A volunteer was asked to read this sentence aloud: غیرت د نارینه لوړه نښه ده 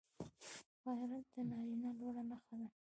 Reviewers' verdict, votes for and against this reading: accepted, 2, 1